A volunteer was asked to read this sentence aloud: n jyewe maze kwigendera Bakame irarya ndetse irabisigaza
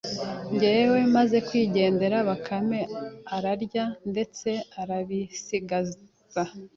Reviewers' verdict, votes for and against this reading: rejected, 1, 2